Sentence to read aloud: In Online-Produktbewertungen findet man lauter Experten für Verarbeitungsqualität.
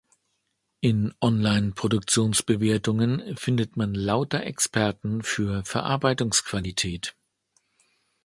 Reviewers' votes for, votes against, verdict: 0, 2, rejected